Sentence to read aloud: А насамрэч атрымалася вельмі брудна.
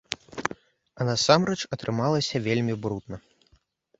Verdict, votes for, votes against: accepted, 2, 0